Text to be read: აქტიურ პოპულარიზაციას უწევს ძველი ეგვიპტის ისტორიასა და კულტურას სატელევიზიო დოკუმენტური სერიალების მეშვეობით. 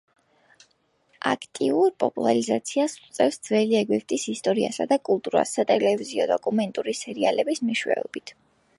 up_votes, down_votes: 0, 2